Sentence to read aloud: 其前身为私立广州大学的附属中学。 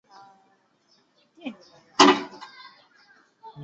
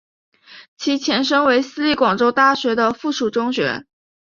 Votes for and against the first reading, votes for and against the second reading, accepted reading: 0, 2, 2, 0, second